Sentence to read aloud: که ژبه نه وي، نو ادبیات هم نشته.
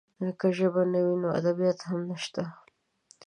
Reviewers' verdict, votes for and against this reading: accepted, 2, 0